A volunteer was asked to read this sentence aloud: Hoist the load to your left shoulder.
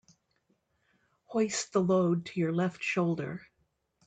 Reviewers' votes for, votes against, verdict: 2, 0, accepted